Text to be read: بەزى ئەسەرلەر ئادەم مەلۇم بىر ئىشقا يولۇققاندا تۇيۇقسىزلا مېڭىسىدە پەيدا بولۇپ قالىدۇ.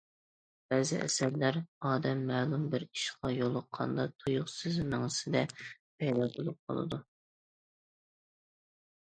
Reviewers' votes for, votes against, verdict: 1, 2, rejected